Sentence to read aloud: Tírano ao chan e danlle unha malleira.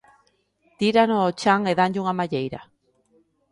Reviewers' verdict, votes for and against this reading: accepted, 2, 0